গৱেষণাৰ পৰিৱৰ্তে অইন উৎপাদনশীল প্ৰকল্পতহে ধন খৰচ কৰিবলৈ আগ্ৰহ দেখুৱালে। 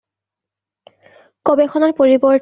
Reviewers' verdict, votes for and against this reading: rejected, 0, 2